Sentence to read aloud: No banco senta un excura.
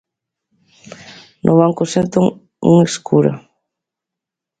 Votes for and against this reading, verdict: 0, 2, rejected